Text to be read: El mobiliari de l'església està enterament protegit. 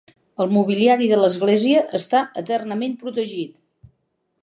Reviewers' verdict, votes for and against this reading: rejected, 0, 3